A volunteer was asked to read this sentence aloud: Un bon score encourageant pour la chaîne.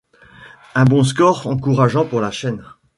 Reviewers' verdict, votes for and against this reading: accepted, 2, 0